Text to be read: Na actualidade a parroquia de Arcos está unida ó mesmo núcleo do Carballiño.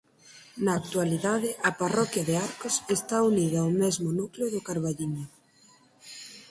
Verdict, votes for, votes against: rejected, 2, 4